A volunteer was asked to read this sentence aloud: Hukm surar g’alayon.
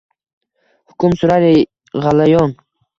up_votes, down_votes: 2, 0